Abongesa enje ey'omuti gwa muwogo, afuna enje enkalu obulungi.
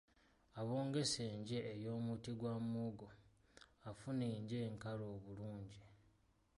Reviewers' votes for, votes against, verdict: 0, 2, rejected